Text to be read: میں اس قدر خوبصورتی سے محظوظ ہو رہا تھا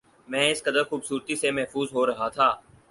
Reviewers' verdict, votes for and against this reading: accepted, 4, 0